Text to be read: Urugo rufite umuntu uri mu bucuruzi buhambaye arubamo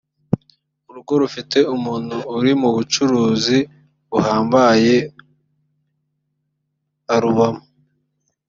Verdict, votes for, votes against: rejected, 1, 2